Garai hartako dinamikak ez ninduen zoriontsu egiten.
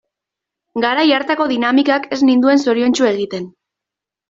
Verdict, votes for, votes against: accepted, 2, 0